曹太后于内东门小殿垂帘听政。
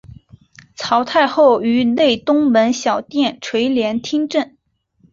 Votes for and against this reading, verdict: 5, 0, accepted